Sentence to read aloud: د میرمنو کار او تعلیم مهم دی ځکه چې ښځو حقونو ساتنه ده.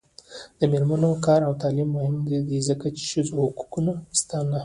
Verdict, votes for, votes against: rejected, 1, 2